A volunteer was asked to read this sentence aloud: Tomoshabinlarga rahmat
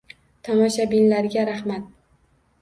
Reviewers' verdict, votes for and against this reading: accepted, 2, 0